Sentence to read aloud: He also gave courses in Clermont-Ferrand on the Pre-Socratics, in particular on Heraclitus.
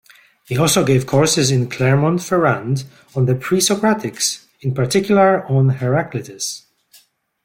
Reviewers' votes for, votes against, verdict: 0, 2, rejected